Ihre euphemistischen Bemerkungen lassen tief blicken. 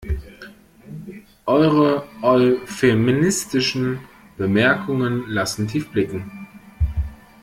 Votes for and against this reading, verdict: 0, 2, rejected